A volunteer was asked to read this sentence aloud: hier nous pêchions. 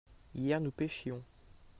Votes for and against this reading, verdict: 2, 0, accepted